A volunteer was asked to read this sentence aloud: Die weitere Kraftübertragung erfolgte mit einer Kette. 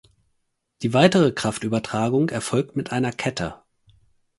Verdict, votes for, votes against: rejected, 0, 4